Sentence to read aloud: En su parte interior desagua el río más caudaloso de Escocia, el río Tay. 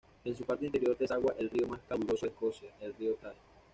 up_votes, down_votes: 1, 2